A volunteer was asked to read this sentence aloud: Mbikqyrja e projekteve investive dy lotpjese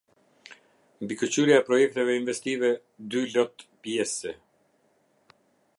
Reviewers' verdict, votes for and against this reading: rejected, 0, 2